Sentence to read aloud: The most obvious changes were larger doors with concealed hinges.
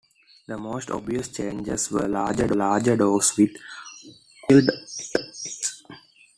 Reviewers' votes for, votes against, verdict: 1, 2, rejected